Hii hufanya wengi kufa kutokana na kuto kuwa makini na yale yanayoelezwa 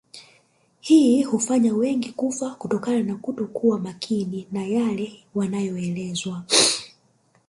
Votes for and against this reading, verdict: 2, 0, accepted